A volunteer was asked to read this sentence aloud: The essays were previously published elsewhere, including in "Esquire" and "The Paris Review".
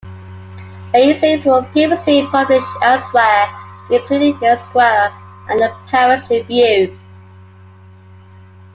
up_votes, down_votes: 2, 1